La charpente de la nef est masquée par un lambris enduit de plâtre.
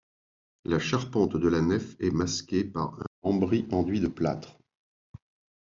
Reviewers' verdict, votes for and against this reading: rejected, 0, 2